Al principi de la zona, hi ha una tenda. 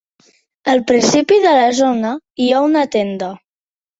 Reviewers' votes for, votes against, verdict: 3, 0, accepted